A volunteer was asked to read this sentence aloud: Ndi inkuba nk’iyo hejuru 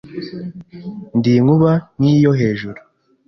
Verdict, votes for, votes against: accepted, 2, 1